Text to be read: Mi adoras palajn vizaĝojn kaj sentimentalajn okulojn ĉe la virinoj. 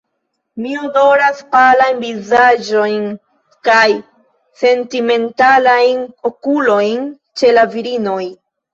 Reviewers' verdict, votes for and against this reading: rejected, 1, 3